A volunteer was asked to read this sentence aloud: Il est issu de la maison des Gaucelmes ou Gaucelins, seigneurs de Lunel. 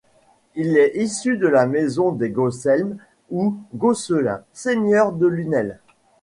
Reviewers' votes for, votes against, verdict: 2, 0, accepted